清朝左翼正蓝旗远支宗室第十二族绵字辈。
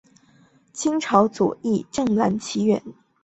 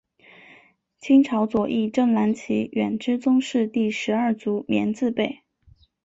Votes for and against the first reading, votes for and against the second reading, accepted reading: 0, 2, 3, 0, second